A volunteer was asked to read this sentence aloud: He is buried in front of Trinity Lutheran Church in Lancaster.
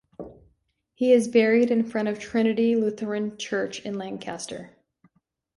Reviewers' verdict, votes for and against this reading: accepted, 2, 0